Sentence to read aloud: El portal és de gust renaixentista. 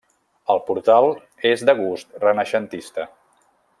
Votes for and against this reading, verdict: 2, 0, accepted